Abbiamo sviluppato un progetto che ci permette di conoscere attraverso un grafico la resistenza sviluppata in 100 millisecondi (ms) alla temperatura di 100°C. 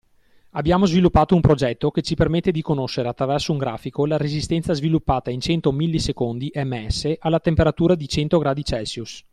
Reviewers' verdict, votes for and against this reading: rejected, 0, 2